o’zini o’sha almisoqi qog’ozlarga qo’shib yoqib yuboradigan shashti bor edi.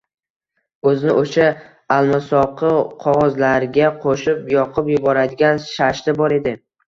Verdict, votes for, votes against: rejected, 1, 2